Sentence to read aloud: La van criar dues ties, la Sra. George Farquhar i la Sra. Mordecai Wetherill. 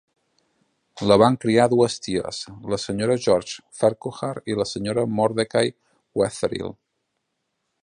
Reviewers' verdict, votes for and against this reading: accepted, 2, 0